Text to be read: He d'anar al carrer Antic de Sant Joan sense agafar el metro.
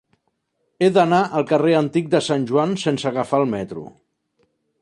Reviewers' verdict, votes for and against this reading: accepted, 4, 0